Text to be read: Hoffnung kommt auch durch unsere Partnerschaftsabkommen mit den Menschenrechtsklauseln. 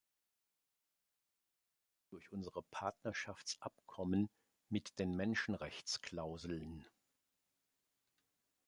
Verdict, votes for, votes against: rejected, 0, 2